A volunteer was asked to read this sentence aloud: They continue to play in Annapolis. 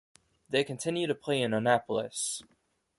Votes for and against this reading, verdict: 2, 0, accepted